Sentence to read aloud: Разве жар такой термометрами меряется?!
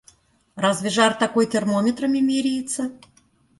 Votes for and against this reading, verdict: 2, 1, accepted